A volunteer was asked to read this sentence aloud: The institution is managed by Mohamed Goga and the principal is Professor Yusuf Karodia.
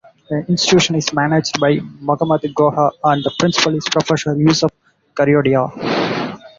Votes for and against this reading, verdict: 0, 4, rejected